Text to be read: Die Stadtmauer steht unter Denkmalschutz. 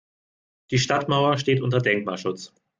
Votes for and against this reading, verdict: 2, 0, accepted